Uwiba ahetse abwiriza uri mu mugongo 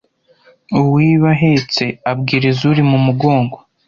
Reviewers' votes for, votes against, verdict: 2, 0, accepted